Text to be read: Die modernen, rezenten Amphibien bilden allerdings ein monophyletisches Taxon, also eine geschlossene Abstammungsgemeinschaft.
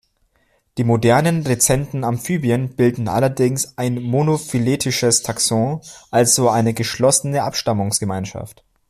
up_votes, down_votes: 2, 0